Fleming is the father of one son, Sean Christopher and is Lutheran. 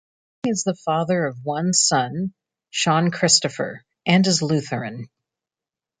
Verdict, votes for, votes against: rejected, 0, 2